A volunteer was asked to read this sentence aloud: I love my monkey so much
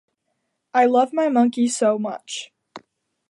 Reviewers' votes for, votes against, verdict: 2, 0, accepted